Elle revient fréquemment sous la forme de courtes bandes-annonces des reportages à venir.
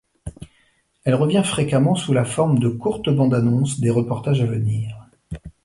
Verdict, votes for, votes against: accepted, 2, 1